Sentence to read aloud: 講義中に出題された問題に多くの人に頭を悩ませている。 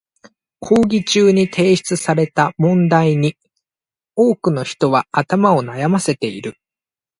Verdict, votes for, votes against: accepted, 2, 1